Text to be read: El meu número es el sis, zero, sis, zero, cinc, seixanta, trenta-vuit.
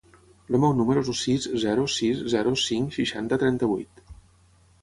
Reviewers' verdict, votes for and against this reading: rejected, 3, 3